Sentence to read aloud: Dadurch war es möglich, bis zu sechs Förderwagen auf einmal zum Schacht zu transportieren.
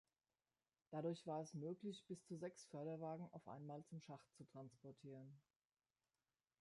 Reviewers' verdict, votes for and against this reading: accepted, 2, 0